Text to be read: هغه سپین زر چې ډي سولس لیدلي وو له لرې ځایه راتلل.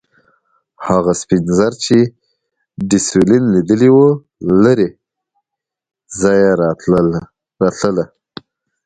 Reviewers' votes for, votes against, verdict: 2, 0, accepted